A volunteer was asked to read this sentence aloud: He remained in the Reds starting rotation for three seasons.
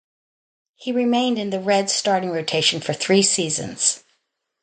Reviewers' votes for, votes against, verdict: 0, 2, rejected